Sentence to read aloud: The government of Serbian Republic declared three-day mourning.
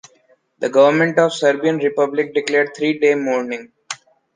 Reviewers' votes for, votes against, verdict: 2, 0, accepted